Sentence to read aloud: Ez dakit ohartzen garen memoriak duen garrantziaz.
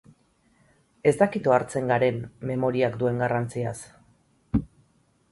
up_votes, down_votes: 8, 0